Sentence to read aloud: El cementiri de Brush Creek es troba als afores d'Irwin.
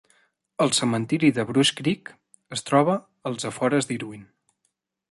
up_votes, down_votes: 4, 0